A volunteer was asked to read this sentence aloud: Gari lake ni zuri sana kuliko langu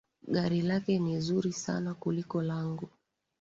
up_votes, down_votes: 6, 0